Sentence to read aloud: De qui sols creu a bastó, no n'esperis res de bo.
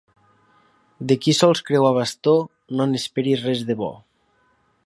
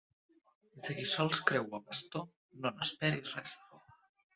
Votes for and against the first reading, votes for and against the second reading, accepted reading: 2, 0, 0, 2, first